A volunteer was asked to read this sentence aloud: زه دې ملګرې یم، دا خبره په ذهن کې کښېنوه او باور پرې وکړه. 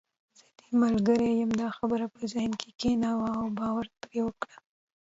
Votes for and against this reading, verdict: 1, 2, rejected